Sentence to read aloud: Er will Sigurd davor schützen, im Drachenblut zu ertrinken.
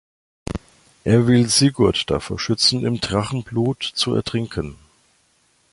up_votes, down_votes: 1, 2